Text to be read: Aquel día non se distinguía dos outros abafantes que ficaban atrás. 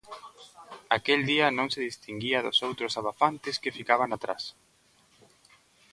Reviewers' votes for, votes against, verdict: 2, 0, accepted